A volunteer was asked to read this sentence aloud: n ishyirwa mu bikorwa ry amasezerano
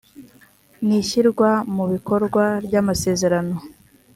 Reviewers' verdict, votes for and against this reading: accepted, 3, 0